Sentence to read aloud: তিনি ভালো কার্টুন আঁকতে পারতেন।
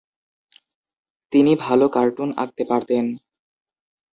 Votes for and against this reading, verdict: 2, 0, accepted